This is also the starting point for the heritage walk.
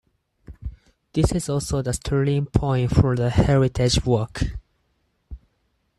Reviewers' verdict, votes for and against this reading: rejected, 2, 4